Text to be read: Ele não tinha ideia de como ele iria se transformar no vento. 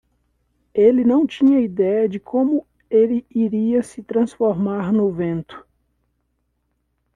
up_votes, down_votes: 2, 0